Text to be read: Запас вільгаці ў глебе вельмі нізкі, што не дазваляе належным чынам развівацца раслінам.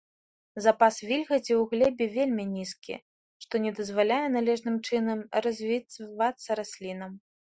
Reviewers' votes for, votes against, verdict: 1, 2, rejected